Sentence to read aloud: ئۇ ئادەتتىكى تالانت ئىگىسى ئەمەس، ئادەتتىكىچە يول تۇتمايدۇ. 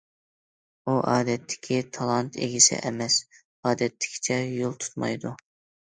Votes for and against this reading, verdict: 2, 0, accepted